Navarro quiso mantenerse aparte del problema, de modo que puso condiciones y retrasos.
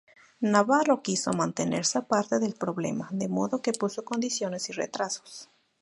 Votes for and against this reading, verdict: 2, 2, rejected